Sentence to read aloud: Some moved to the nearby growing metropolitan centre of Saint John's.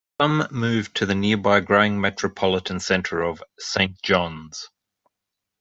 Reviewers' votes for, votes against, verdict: 1, 2, rejected